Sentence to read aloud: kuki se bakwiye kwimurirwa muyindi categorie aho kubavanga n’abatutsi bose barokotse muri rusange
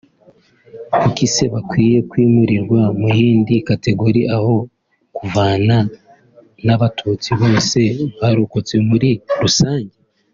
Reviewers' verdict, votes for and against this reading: rejected, 0, 2